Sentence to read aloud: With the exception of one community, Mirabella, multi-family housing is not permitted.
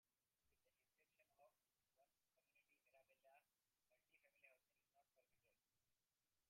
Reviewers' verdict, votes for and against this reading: rejected, 0, 2